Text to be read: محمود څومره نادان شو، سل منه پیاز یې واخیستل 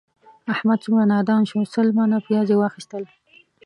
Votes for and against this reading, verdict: 2, 0, accepted